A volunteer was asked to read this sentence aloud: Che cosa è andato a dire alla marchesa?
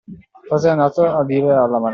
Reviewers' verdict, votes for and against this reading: rejected, 0, 2